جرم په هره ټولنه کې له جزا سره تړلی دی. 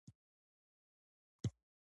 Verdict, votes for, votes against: accepted, 2, 0